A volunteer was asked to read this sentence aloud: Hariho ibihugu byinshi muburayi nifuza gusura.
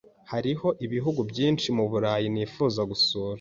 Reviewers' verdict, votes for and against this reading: accepted, 2, 0